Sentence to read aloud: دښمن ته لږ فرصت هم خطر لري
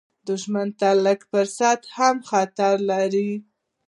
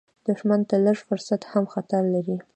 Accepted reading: second